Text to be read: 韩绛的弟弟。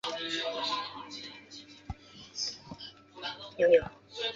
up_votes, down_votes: 0, 3